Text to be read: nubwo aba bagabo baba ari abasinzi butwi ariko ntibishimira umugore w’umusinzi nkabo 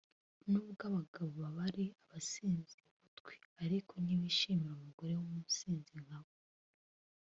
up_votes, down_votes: 3, 1